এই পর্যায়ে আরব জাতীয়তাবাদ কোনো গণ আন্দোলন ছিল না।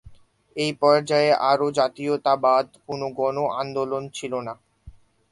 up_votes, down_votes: 6, 14